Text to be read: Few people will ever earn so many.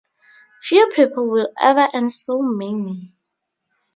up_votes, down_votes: 0, 2